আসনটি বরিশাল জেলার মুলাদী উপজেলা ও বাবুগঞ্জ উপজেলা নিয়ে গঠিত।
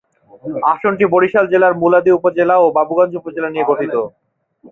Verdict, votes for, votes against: rejected, 2, 2